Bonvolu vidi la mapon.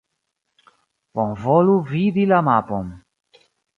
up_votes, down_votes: 2, 0